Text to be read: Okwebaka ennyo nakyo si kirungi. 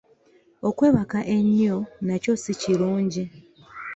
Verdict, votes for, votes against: accepted, 2, 0